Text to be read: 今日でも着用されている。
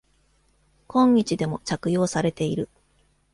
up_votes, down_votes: 2, 0